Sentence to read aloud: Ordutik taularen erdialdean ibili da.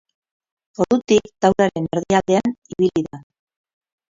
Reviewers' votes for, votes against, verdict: 0, 6, rejected